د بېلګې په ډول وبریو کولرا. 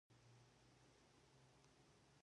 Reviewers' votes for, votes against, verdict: 0, 2, rejected